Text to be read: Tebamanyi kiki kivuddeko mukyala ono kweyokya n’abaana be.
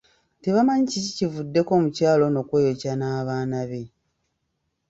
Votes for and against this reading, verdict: 2, 0, accepted